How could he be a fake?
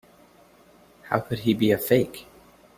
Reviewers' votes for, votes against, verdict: 3, 0, accepted